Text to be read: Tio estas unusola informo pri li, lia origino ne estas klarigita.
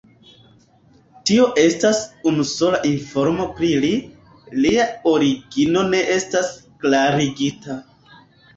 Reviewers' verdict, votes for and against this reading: accepted, 2, 0